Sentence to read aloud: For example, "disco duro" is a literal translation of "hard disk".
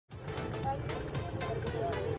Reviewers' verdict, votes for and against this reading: rejected, 0, 2